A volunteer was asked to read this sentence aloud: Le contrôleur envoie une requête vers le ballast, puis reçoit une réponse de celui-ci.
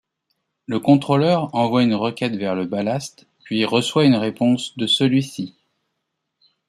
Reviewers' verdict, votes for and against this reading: accepted, 2, 0